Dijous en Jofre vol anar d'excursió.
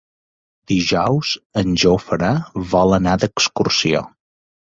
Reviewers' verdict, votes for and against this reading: accepted, 2, 0